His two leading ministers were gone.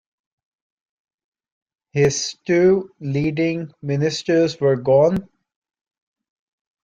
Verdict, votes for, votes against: accepted, 2, 0